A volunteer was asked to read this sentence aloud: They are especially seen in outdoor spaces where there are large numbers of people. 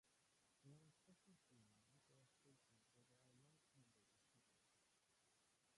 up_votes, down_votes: 0, 2